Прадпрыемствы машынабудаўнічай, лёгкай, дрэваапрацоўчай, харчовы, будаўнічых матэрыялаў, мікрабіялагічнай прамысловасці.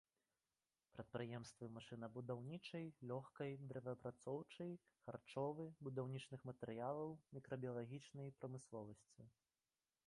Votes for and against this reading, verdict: 2, 1, accepted